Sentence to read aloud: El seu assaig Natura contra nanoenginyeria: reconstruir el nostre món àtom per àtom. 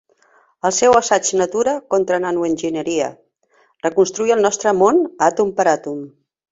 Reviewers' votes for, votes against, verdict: 3, 0, accepted